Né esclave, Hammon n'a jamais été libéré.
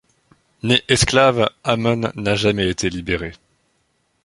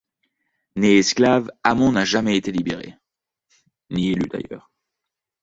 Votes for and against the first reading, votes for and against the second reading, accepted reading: 2, 0, 0, 2, first